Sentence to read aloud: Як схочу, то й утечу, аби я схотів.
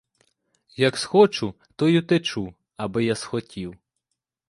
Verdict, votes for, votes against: accepted, 2, 0